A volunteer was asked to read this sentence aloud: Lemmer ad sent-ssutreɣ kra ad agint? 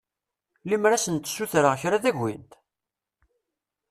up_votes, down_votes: 2, 0